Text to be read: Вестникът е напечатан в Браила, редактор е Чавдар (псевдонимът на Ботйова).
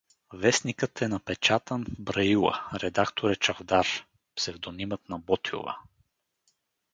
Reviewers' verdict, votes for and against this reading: rejected, 2, 2